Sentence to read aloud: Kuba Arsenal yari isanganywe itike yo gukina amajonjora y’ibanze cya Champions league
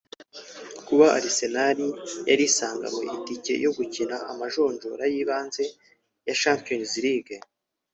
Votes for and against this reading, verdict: 1, 2, rejected